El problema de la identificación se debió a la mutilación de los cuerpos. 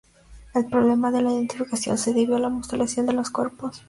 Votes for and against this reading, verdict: 2, 0, accepted